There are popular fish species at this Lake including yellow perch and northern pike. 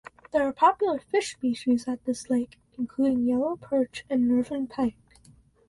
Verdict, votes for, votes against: rejected, 2, 4